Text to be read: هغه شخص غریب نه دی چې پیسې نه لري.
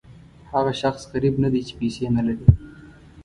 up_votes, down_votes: 2, 0